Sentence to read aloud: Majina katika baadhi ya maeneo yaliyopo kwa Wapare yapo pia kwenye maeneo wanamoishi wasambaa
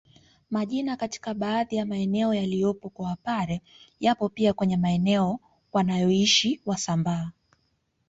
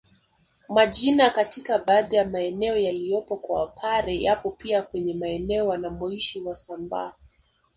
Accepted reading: second